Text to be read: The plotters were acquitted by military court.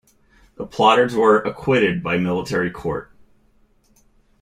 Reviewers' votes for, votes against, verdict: 1, 3, rejected